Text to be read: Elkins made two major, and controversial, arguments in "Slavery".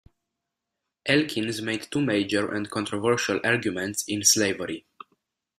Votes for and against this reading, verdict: 2, 0, accepted